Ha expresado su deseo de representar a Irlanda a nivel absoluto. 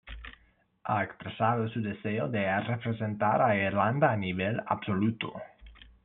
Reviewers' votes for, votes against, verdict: 1, 2, rejected